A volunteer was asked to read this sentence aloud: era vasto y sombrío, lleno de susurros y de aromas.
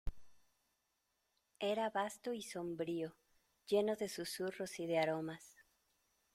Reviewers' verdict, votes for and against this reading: accepted, 2, 0